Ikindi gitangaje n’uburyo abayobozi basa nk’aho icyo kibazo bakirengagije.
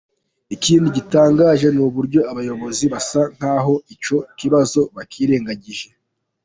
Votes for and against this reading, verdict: 0, 2, rejected